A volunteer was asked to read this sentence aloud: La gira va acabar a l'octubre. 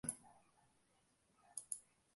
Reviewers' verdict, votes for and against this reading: rejected, 0, 2